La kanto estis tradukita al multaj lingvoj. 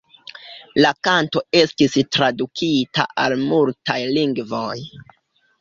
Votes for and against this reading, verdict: 3, 4, rejected